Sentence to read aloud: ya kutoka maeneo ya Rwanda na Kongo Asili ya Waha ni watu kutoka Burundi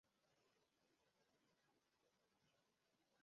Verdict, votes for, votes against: rejected, 0, 2